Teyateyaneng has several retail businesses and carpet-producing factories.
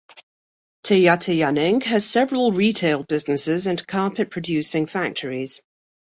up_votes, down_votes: 2, 0